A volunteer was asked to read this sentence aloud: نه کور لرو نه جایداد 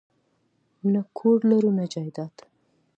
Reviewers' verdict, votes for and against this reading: accepted, 2, 0